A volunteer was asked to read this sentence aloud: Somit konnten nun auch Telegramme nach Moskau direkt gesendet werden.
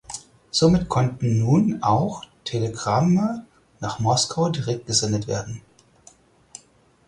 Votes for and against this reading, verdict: 4, 0, accepted